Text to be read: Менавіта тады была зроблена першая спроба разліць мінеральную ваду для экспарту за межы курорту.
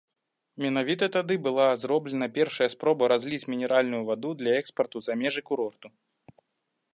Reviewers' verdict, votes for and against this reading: accepted, 3, 0